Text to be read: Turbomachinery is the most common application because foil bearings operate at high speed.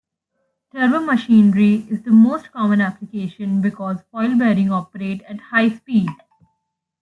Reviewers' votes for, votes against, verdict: 2, 0, accepted